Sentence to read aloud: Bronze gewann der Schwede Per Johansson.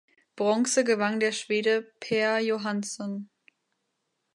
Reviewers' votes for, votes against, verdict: 2, 1, accepted